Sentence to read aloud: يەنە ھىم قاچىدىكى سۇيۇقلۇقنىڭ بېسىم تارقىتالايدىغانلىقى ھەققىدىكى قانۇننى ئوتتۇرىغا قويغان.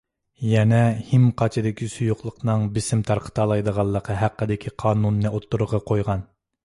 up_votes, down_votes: 2, 0